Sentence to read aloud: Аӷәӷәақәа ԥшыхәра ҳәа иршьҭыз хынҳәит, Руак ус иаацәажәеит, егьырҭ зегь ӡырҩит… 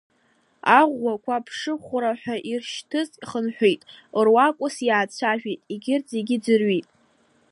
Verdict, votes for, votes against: accepted, 2, 0